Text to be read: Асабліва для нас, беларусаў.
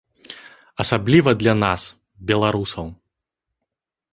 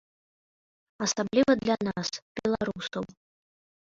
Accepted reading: first